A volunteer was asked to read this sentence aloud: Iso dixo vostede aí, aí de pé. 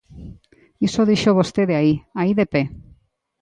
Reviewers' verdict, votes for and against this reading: accepted, 3, 0